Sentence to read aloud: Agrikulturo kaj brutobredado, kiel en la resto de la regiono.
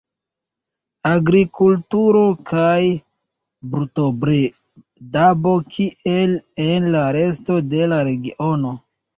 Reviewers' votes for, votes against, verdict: 0, 2, rejected